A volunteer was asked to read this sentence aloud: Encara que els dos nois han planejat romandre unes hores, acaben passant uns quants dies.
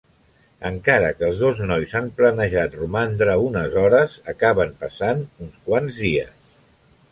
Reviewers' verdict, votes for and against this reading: accepted, 3, 0